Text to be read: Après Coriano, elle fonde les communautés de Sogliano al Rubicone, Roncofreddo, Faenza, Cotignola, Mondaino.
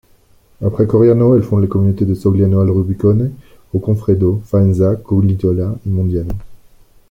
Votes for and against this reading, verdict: 1, 2, rejected